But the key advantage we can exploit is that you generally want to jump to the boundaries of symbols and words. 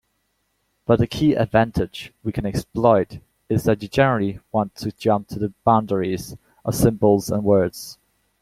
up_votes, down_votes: 2, 0